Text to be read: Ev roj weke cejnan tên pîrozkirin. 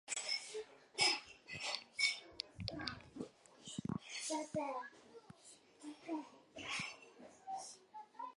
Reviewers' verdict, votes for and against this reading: rejected, 0, 2